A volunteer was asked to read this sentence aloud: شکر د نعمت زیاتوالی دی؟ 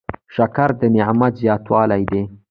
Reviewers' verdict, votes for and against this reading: rejected, 1, 2